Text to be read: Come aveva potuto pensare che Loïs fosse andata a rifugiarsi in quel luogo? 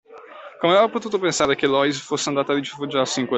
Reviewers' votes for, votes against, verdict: 0, 2, rejected